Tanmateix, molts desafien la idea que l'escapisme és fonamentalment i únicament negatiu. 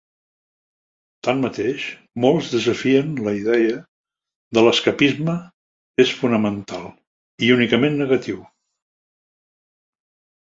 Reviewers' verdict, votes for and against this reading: accepted, 2, 0